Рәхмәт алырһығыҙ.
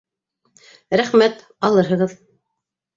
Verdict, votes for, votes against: accepted, 2, 0